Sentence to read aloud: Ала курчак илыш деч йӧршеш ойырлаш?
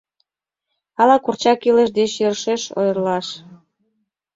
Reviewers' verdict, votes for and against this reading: accepted, 2, 0